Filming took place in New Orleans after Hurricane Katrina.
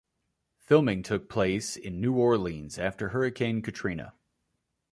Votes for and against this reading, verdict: 3, 0, accepted